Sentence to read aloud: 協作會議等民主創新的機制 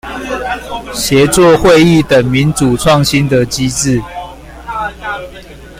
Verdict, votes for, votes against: accepted, 2, 0